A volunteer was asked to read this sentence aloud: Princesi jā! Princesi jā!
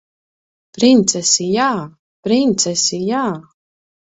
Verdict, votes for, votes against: accepted, 2, 0